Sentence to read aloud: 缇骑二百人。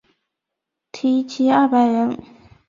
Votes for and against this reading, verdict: 5, 0, accepted